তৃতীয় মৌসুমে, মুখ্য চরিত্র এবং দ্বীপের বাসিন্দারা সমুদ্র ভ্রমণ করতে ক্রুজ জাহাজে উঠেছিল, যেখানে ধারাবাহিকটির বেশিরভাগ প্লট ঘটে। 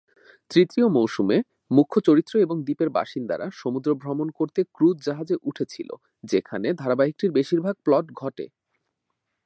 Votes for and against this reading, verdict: 2, 1, accepted